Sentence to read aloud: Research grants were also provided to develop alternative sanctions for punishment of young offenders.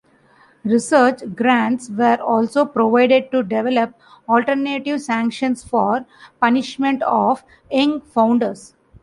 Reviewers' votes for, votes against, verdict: 0, 2, rejected